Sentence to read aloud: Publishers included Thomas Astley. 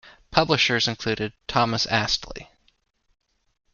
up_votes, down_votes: 2, 0